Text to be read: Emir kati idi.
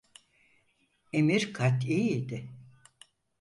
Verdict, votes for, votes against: accepted, 4, 0